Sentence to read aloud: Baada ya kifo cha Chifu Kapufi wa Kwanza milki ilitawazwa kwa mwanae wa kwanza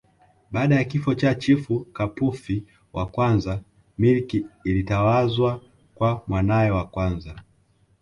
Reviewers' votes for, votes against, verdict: 1, 2, rejected